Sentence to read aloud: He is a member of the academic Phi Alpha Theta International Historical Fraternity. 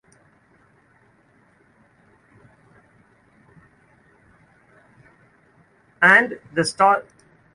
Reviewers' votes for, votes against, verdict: 0, 2, rejected